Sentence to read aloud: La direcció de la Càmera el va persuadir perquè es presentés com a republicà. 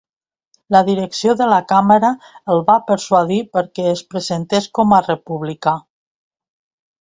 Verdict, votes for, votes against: accepted, 2, 0